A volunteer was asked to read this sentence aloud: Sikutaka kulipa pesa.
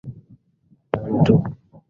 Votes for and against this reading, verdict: 0, 2, rejected